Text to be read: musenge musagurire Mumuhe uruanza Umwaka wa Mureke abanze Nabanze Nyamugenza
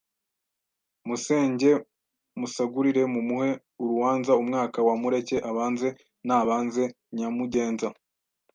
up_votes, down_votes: 2, 0